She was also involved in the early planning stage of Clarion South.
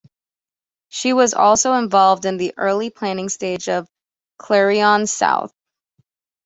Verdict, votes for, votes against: accepted, 2, 0